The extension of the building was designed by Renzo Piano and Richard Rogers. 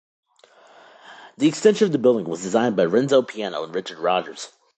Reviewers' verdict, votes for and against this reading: rejected, 0, 2